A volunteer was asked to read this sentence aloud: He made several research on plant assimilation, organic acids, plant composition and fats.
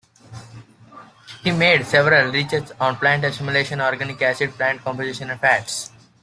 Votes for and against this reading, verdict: 2, 0, accepted